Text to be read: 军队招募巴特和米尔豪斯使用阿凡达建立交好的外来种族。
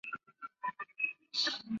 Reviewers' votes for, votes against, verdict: 0, 2, rejected